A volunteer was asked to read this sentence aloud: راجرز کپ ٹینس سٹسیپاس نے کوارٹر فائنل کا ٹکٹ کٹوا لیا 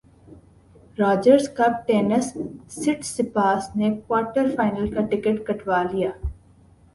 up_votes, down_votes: 5, 0